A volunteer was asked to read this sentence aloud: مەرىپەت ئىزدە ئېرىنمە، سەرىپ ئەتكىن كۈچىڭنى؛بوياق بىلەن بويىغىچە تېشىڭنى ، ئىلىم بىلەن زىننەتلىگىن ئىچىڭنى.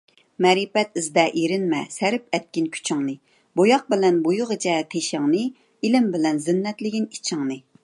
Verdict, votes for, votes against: accepted, 2, 0